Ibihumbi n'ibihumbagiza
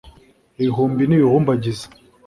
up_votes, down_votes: 3, 0